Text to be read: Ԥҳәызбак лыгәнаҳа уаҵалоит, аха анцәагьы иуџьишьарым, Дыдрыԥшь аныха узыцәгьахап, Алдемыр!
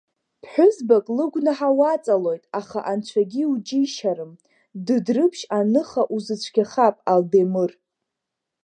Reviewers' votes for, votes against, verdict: 1, 2, rejected